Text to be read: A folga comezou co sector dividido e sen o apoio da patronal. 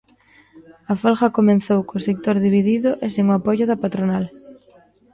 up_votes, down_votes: 0, 2